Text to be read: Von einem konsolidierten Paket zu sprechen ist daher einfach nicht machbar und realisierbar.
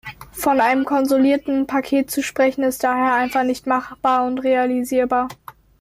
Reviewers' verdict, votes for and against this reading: rejected, 0, 2